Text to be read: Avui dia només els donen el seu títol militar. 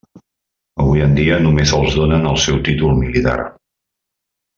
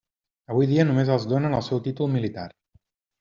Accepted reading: second